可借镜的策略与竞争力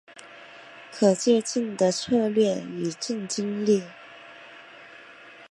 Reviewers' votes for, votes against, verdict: 2, 0, accepted